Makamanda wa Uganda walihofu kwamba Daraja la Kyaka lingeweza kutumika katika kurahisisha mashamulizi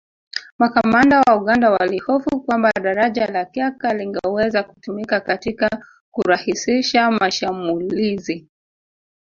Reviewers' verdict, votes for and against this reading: rejected, 0, 2